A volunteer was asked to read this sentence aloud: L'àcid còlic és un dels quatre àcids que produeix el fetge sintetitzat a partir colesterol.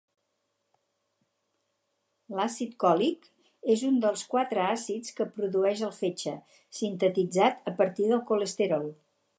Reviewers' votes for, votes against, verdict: 2, 2, rejected